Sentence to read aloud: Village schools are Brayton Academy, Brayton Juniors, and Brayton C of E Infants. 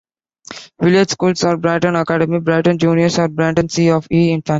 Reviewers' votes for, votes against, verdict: 0, 2, rejected